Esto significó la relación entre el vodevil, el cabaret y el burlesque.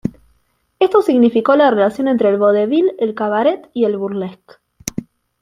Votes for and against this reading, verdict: 1, 2, rejected